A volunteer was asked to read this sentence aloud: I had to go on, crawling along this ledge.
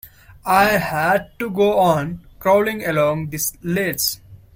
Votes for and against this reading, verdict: 2, 1, accepted